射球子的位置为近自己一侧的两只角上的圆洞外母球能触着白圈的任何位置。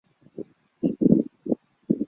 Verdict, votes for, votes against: rejected, 0, 2